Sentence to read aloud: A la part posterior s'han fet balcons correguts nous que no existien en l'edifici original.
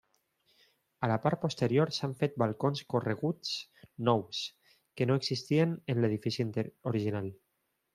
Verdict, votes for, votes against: rejected, 1, 2